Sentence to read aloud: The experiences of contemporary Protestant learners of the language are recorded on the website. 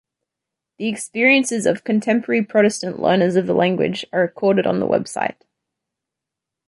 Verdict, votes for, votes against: accepted, 2, 0